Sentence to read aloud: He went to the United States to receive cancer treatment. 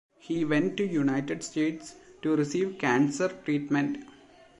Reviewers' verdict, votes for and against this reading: rejected, 0, 2